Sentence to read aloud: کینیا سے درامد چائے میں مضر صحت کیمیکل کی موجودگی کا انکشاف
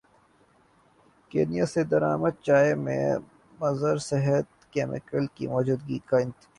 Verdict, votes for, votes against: rejected, 0, 2